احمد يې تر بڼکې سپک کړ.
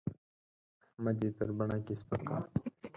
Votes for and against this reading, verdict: 2, 4, rejected